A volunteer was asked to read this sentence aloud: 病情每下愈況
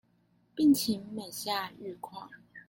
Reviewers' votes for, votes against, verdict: 1, 2, rejected